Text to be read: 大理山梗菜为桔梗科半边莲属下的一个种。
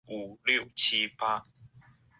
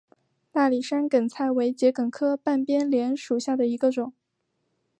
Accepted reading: second